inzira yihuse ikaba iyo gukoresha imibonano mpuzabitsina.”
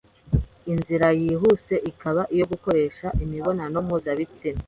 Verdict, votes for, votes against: accepted, 2, 0